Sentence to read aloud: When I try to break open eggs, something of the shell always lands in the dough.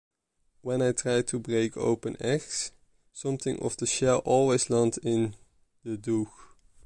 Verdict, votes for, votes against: rejected, 1, 2